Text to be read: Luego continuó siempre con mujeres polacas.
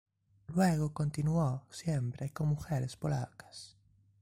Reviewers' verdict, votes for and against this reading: rejected, 1, 2